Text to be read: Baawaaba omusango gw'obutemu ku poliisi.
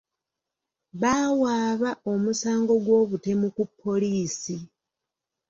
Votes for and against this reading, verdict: 2, 0, accepted